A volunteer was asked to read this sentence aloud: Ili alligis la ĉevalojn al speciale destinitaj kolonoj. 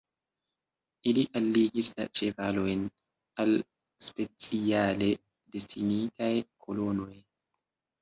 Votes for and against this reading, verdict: 0, 2, rejected